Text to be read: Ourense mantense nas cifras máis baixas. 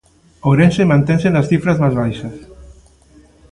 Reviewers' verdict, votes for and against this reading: rejected, 0, 2